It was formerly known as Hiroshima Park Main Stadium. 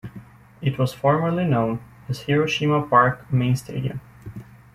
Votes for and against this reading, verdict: 2, 0, accepted